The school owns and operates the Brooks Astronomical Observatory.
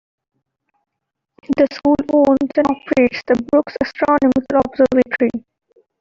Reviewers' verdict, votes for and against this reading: accepted, 2, 0